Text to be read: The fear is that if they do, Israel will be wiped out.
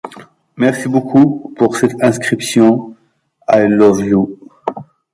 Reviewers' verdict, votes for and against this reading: rejected, 0, 2